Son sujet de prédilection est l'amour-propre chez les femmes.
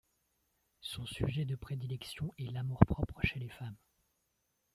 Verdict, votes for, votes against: accepted, 2, 1